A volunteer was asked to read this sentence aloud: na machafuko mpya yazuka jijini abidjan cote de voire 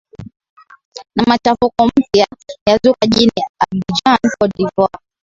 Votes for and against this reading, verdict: 0, 2, rejected